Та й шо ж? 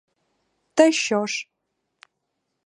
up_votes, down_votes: 0, 4